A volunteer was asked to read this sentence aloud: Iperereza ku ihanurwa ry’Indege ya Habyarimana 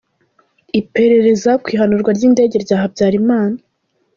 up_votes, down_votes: 1, 2